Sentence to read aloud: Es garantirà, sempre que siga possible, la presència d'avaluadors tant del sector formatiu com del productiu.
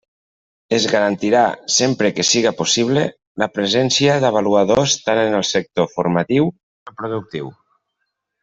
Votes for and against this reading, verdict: 1, 2, rejected